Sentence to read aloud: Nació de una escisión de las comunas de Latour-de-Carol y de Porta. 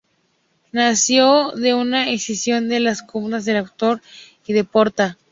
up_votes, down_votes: 2, 0